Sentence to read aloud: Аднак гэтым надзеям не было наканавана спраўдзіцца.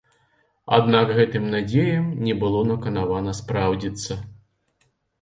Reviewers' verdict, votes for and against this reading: rejected, 1, 2